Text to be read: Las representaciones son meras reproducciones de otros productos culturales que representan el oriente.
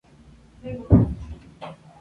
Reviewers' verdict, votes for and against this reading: rejected, 0, 2